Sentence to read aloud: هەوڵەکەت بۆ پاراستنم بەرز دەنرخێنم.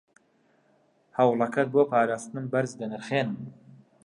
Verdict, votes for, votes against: accepted, 2, 0